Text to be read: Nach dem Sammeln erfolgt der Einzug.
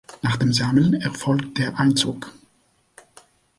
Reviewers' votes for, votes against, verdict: 3, 0, accepted